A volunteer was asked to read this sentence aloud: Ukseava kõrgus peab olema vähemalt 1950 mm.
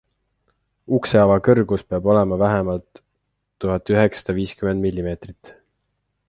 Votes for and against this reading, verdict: 0, 2, rejected